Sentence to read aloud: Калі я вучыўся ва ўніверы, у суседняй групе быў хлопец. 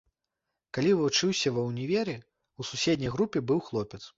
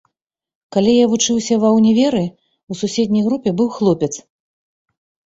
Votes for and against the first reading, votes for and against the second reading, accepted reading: 1, 2, 2, 0, second